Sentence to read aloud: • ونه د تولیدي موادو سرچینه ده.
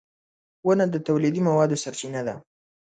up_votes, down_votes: 2, 1